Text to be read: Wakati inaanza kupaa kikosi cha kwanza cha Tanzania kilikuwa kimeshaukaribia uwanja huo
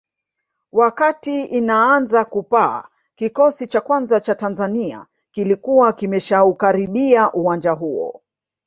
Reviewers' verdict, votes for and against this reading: rejected, 0, 2